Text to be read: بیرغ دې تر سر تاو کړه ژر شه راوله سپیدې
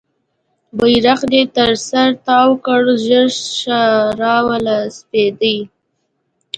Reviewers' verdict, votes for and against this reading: accepted, 2, 0